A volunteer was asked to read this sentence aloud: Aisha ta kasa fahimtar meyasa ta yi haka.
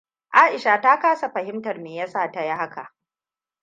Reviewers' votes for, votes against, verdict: 2, 0, accepted